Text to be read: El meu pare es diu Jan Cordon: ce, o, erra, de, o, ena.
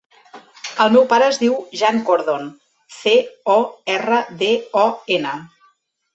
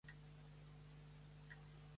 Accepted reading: first